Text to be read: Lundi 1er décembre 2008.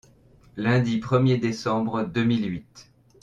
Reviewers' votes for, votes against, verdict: 0, 2, rejected